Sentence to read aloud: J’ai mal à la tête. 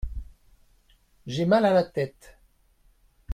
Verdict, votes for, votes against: accepted, 2, 0